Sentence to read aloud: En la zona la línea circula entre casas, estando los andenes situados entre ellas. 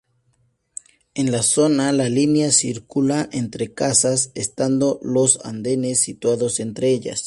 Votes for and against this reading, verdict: 2, 0, accepted